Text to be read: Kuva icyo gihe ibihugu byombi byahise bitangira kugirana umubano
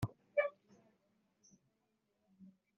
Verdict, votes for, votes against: rejected, 0, 3